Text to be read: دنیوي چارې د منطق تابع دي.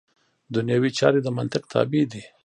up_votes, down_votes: 1, 2